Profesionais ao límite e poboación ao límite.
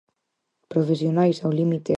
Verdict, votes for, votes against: rejected, 0, 4